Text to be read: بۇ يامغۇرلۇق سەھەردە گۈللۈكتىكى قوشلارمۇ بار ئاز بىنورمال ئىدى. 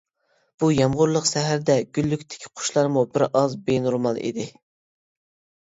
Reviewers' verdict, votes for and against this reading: rejected, 1, 2